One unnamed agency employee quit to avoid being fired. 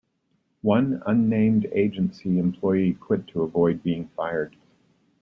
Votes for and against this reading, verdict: 2, 0, accepted